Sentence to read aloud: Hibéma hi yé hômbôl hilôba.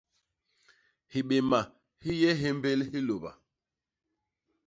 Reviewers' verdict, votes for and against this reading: rejected, 0, 2